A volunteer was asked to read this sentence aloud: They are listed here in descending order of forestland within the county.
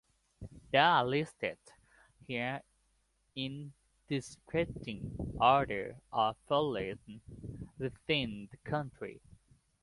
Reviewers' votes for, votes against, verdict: 0, 2, rejected